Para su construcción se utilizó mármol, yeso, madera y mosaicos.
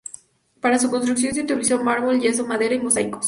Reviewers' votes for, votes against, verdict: 2, 0, accepted